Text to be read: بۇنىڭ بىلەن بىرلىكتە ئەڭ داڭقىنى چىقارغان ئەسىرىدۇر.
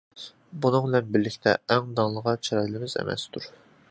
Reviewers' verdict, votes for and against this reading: rejected, 0, 2